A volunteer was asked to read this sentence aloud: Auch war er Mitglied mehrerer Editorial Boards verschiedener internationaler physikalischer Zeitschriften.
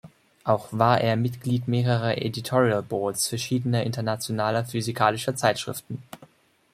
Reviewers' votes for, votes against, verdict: 2, 0, accepted